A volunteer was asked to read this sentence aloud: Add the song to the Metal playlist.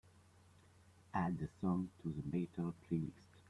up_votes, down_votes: 0, 2